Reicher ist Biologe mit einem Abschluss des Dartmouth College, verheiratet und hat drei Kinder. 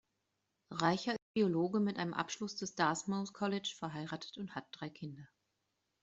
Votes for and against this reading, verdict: 1, 2, rejected